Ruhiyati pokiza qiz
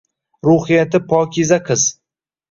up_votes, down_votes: 2, 0